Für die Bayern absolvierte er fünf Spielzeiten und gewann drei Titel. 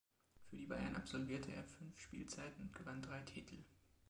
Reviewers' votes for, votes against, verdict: 2, 0, accepted